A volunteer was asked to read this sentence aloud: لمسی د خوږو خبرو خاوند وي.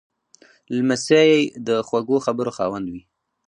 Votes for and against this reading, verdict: 2, 2, rejected